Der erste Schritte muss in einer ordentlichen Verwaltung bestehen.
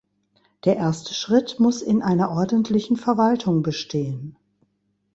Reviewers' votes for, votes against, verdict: 1, 2, rejected